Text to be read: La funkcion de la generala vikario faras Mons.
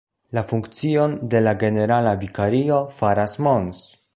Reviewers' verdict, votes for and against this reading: accepted, 2, 0